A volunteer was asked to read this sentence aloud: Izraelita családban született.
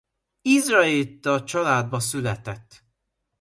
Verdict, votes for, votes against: rejected, 0, 2